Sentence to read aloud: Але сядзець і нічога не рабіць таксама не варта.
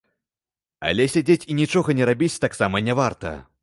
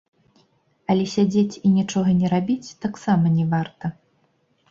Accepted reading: first